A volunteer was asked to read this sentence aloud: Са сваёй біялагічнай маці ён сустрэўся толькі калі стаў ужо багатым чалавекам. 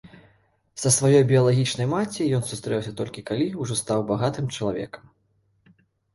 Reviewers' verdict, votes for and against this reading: rejected, 1, 2